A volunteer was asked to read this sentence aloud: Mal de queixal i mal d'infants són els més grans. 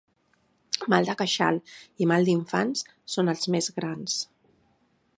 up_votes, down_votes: 3, 0